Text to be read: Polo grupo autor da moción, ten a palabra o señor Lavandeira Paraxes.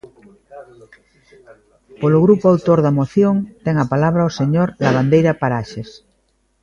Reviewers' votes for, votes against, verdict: 2, 1, accepted